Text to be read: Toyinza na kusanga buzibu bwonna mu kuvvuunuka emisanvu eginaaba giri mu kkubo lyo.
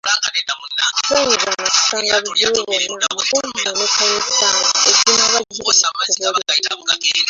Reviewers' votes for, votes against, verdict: 0, 2, rejected